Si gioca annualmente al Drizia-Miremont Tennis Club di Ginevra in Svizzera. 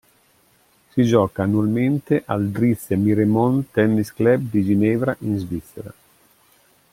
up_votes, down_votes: 2, 1